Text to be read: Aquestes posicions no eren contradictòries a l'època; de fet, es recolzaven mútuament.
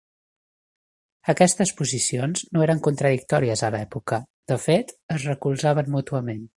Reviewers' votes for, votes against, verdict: 2, 0, accepted